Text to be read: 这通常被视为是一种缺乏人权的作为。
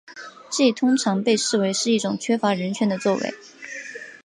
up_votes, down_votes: 3, 0